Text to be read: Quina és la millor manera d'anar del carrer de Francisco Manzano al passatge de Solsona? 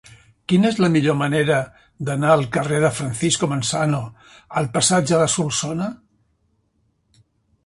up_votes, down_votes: 1, 2